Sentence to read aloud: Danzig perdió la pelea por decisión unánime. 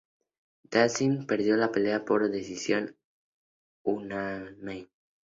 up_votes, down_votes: 0, 2